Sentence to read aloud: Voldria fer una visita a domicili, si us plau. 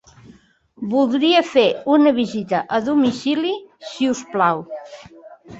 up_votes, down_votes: 5, 1